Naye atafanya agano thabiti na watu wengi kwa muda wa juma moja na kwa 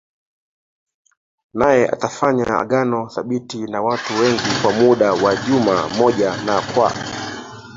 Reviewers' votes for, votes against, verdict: 2, 0, accepted